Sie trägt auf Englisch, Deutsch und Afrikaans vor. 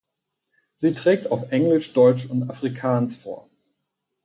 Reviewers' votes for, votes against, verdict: 4, 0, accepted